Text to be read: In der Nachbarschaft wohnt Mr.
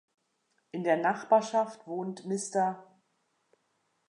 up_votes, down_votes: 2, 0